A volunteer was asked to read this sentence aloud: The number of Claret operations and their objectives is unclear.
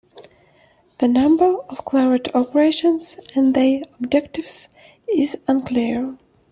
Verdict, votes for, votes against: accepted, 2, 0